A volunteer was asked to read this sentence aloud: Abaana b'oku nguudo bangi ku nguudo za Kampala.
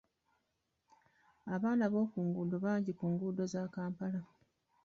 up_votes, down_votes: 2, 3